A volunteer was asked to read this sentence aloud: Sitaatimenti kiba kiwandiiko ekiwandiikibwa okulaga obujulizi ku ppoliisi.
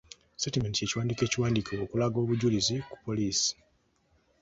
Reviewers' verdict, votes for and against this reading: rejected, 0, 2